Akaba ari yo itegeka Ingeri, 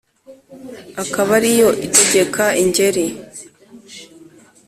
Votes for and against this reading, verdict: 2, 0, accepted